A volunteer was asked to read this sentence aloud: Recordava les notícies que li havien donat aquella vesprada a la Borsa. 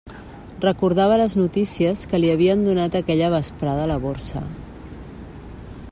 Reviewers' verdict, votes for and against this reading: accepted, 2, 0